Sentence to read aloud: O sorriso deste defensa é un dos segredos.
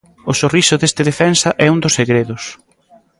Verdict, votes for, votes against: accepted, 2, 0